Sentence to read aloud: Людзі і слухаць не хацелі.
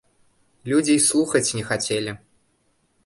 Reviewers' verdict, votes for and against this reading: accepted, 2, 0